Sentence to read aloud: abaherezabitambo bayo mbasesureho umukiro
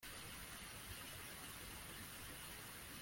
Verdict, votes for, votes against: rejected, 0, 2